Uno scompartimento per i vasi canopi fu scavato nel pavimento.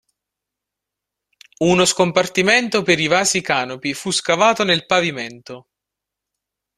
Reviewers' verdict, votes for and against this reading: rejected, 1, 2